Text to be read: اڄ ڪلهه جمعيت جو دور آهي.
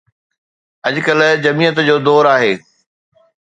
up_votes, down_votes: 2, 0